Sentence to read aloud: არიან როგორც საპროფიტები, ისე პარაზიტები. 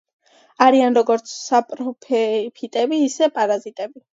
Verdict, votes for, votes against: accepted, 2, 0